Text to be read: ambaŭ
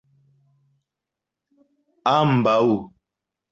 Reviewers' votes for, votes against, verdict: 2, 0, accepted